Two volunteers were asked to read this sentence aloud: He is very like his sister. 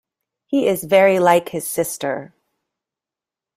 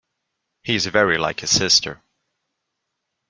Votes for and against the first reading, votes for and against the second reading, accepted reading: 2, 0, 1, 2, first